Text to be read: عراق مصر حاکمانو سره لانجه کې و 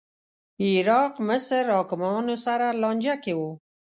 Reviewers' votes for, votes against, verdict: 3, 0, accepted